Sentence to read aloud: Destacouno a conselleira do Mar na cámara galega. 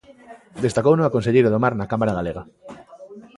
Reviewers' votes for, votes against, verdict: 2, 1, accepted